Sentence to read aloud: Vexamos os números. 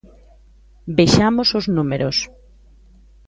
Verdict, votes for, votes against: accepted, 2, 0